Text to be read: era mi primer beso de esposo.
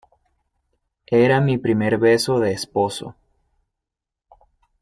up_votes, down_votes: 2, 0